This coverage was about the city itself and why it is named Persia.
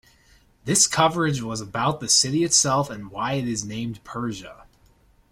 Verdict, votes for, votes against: accepted, 2, 0